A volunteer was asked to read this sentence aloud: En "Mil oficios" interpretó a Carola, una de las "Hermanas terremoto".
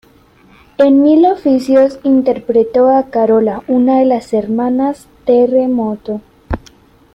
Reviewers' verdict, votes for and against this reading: rejected, 1, 2